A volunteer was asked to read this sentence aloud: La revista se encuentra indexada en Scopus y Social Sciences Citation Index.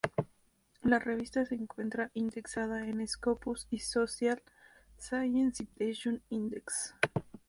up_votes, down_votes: 2, 0